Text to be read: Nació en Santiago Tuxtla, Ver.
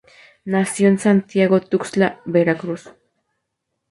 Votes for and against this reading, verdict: 0, 2, rejected